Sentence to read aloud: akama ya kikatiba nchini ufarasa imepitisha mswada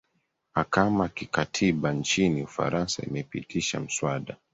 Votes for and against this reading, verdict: 3, 0, accepted